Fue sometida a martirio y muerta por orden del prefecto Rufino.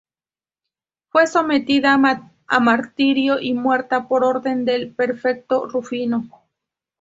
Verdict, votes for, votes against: rejected, 0, 2